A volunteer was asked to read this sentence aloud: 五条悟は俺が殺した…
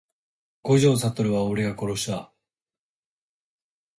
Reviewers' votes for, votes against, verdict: 2, 1, accepted